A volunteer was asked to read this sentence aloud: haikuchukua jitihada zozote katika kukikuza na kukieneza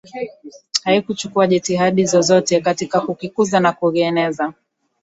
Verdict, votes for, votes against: accepted, 2, 0